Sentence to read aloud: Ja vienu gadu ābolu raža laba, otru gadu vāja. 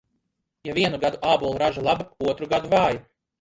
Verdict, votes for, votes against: rejected, 1, 2